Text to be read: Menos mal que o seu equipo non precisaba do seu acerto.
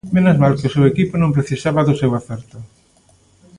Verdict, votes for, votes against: accepted, 2, 0